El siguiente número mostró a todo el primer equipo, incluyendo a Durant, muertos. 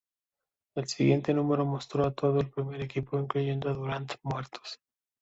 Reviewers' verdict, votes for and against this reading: accepted, 2, 0